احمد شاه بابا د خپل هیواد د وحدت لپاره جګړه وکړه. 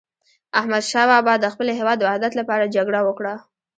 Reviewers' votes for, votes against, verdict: 1, 2, rejected